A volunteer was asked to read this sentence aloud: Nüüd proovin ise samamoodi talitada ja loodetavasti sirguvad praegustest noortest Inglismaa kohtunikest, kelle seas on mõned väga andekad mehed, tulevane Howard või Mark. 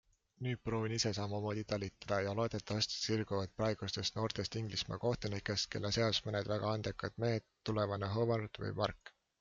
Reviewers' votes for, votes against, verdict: 2, 0, accepted